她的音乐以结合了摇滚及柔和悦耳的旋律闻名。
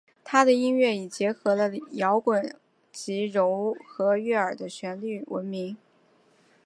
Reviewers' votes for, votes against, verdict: 2, 1, accepted